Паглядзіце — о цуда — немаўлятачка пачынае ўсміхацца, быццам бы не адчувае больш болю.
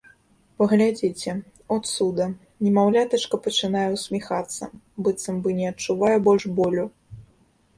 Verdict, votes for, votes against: accepted, 2, 0